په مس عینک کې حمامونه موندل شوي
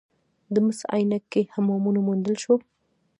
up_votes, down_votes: 0, 2